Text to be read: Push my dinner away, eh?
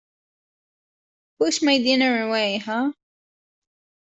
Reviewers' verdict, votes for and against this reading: rejected, 0, 2